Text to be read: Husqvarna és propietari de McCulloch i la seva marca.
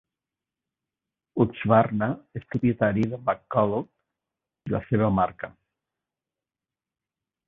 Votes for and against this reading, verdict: 1, 2, rejected